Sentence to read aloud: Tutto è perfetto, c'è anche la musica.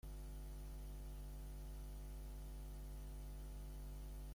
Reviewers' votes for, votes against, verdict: 0, 2, rejected